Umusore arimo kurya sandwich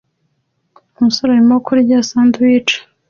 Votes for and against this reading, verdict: 2, 0, accepted